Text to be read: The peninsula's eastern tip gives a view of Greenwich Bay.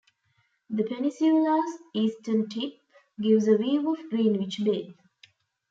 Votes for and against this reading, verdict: 2, 0, accepted